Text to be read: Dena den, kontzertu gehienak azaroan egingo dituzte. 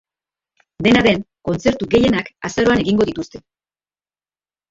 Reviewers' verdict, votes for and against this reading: rejected, 1, 2